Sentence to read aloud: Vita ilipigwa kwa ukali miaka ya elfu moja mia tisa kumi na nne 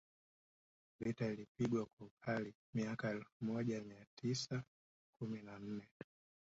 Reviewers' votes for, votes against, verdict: 0, 2, rejected